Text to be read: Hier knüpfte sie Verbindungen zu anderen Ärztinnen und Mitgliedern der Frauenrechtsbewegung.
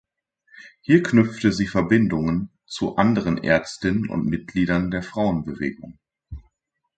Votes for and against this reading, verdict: 0, 2, rejected